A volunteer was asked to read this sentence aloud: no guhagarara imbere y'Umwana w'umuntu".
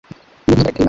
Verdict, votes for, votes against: rejected, 0, 2